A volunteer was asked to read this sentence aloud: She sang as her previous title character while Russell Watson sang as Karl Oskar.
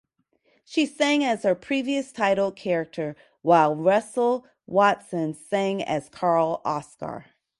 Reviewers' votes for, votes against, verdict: 4, 0, accepted